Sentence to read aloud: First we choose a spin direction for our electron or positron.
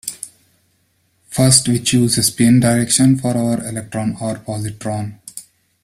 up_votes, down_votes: 2, 0